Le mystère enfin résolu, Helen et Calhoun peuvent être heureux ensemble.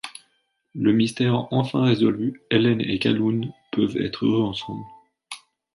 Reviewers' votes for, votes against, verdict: 2, 0, accepted